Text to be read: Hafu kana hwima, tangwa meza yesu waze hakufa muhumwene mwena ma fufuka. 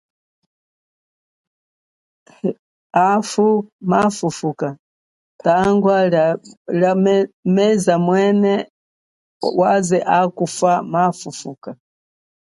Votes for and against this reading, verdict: 2, 0, accepted